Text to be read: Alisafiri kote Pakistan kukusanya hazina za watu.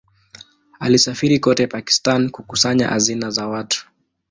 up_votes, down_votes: 2, 0